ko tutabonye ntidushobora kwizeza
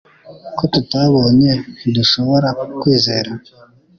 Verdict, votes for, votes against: rejected, 0, 2